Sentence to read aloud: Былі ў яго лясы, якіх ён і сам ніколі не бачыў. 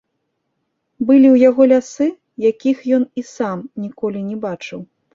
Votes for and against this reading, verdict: 1, 2, rejected